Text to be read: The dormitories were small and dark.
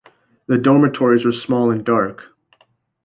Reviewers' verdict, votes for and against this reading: accepted, 2, 1